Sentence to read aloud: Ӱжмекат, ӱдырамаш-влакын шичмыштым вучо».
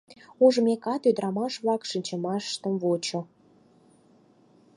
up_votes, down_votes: 2, 4